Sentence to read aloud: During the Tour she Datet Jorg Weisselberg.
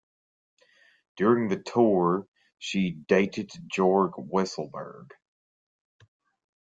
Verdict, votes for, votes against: accepted, 2, 1